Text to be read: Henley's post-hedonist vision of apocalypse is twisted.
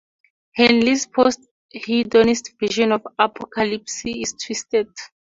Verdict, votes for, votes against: rejected, 2, 2